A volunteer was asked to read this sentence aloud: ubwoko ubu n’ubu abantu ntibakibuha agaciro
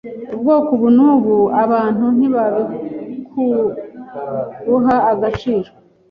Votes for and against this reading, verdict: 2, 3, rejected